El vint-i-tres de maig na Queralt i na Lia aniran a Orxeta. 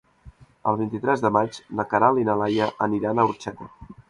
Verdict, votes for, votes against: rejected, 1, 2